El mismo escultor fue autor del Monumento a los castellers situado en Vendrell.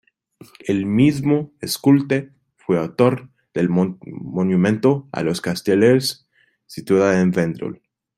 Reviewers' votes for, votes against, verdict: 0, 2, rejected